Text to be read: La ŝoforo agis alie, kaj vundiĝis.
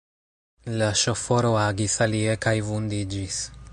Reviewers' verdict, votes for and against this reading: accepted, 2, 0